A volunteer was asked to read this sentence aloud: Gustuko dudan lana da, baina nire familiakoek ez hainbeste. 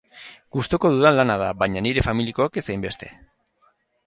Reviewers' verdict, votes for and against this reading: rejected, 2, 2